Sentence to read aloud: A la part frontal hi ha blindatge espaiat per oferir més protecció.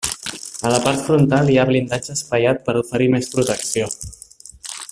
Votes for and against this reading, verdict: 3, 1, accepted